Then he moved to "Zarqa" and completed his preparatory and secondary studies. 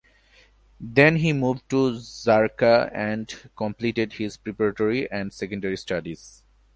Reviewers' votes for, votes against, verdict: 2, 0, accepted